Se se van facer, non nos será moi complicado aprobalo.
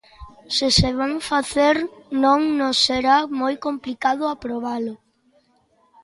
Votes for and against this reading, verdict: 2, 1, accepted